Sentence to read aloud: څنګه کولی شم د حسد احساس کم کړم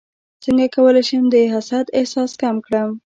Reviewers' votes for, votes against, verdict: 1, 2, rejected